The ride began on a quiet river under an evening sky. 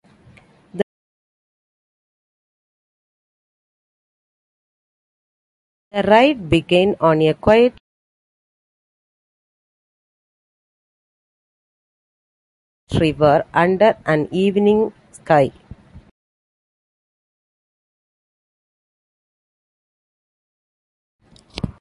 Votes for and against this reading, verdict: 0, 2, rejected